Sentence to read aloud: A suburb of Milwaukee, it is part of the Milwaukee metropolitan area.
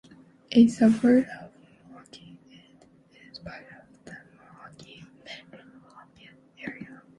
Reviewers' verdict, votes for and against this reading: rejected, 0, 2